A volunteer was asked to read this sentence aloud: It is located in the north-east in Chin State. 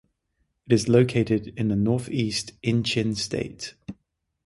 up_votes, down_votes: 0, 3